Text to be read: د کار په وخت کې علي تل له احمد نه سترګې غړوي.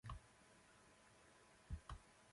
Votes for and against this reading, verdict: 0, 2, rejected